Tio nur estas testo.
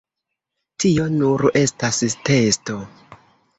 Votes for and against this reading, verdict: 2, 1, accepted